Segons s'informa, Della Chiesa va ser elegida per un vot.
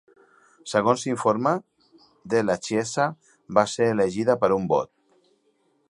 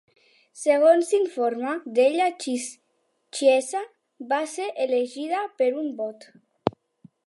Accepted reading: first